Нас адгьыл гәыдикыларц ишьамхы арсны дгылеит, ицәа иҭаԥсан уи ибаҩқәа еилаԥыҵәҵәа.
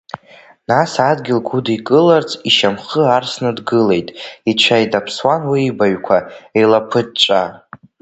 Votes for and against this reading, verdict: 1, 2, rejected